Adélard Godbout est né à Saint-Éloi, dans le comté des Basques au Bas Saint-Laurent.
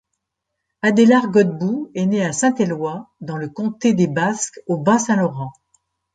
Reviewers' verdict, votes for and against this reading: accepted, 2, 0